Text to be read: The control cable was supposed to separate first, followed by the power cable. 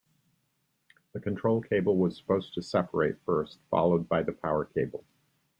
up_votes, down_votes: 2, 0